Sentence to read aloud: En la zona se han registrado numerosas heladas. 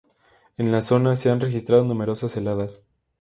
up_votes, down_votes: 2, 0